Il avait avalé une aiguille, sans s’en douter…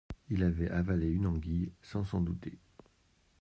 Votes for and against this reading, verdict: 1, 2, rejected